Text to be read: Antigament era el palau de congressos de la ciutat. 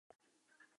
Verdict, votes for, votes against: rejected, 2, 4